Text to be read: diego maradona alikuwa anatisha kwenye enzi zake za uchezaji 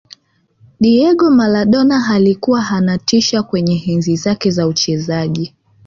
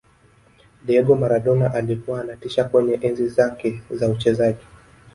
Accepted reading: first